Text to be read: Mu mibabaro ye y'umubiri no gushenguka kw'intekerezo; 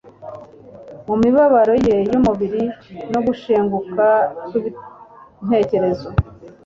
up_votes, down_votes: 1, 2